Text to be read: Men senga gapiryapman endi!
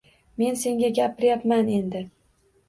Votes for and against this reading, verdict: 2, 0, accepted